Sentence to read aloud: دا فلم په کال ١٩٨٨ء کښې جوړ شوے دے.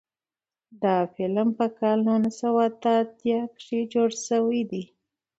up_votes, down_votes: 0, 2